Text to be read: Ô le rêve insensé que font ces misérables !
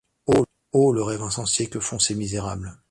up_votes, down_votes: 1, 2